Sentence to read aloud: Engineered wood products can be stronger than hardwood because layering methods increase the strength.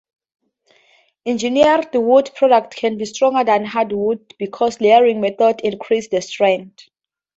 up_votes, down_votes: 2, 2